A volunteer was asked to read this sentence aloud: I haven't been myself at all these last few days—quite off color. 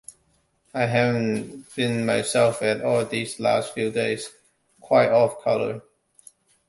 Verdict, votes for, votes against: accepted, 2, 1